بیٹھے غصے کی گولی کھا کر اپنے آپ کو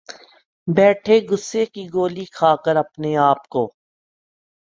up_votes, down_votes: 2, 1